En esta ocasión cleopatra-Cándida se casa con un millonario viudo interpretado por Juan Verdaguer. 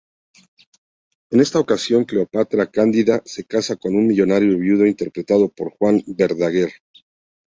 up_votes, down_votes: 2, 0